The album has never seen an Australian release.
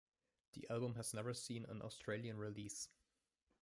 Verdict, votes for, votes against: rejected, 1, 2